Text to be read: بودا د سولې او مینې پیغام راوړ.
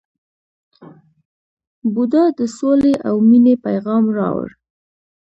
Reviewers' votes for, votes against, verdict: 2, 0, accepted